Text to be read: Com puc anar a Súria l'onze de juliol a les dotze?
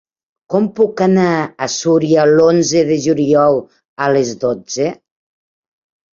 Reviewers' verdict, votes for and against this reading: rejected, 1, 2